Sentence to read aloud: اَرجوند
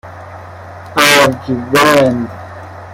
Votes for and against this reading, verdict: 1, 2, rejected